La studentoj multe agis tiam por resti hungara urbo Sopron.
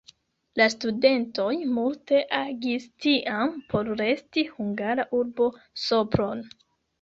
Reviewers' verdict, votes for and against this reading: accepted, 3, 2